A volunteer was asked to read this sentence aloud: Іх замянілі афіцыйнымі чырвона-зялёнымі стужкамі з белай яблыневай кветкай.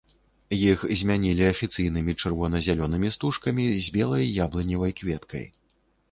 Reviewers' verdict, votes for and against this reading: rejected, 1, 2